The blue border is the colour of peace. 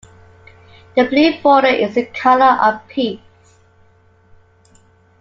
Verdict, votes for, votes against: accepted, 2, 1